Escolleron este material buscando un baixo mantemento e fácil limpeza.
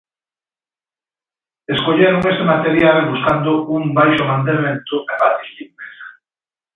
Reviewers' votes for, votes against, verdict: 1, 2, rejected